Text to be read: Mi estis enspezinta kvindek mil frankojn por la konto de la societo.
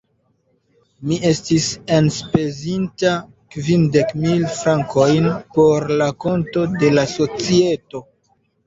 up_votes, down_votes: 1, 2